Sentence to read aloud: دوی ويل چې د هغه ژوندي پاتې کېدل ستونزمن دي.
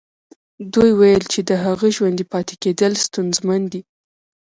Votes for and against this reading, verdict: 1, 2, rejected